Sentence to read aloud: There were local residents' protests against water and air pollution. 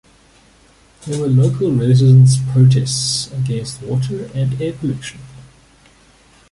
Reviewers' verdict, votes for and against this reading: accepted, 2, 0